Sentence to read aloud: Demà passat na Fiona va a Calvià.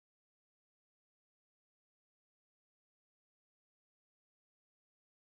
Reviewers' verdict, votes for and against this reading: rejected, 0, 2